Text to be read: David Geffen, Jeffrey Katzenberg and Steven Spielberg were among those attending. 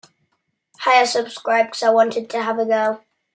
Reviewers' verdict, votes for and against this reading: rejected, 0, 2